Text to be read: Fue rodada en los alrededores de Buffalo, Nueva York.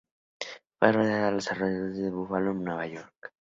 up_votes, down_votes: 0, 2